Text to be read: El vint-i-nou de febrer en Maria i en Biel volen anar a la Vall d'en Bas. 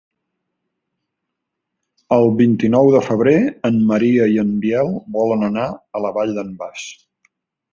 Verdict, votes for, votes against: accepted, 2, 0